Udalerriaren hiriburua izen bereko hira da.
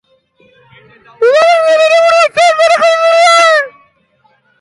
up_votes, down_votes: 0, 3